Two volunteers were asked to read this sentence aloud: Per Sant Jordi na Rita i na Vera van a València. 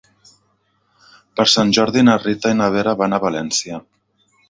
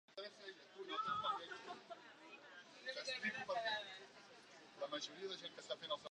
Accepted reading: first